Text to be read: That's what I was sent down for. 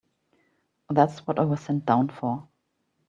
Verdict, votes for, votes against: accepted, 3, 0